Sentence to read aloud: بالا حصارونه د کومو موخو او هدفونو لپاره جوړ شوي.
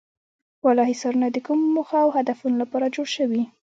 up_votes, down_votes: 2, 1